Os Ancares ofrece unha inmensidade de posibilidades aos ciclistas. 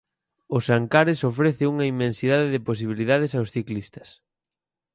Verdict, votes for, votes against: accepted, 4, 0